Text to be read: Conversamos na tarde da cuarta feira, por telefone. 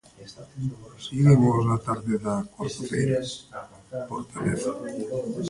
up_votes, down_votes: 0, 2